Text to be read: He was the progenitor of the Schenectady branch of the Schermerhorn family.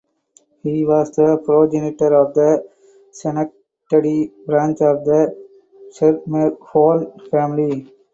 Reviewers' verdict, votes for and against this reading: accepted, 6, 4